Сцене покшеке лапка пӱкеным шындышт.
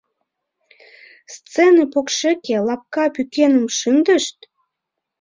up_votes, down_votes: 2, 1